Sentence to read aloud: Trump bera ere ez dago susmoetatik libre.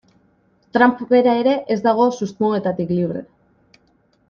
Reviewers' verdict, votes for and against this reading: accepted, 2, 0